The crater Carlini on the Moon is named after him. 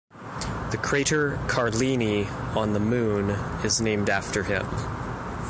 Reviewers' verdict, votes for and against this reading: accepted, 3, 0